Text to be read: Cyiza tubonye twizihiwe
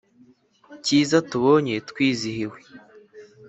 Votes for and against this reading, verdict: 3, 0, accepted